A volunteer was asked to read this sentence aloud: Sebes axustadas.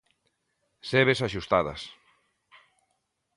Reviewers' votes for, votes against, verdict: 2, 0, accepted